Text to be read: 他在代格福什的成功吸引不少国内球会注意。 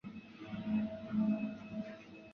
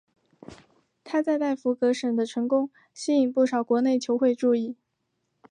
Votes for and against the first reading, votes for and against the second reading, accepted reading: 0, 2, 2, 0, second